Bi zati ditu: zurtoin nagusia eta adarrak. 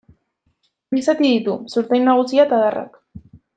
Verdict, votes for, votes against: accepted, 2, 1